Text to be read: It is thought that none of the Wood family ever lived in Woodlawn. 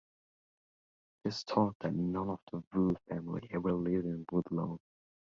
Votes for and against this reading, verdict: 0, 3, rejected